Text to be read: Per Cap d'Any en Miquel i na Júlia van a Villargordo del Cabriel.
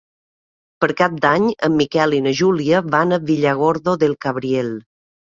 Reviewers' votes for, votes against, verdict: 2, 0, accepted